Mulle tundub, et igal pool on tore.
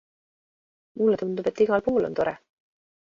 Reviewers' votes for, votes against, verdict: 2, 0, accepted